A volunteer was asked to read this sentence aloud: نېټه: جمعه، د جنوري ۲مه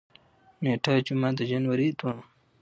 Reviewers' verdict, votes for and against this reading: rejected, 0, 2